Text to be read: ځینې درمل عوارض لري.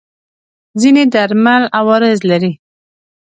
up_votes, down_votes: 2, 0